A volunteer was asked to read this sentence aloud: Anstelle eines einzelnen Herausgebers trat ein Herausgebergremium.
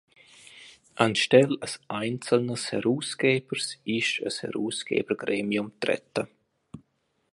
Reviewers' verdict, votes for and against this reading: rejected, 0, 2